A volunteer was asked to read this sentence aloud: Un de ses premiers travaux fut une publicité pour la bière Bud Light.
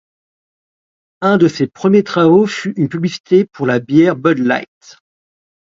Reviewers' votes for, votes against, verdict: 2, 0, accepted